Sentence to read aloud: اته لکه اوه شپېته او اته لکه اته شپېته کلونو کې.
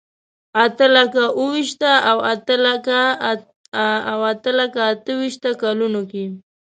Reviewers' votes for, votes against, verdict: 0, 2, rejected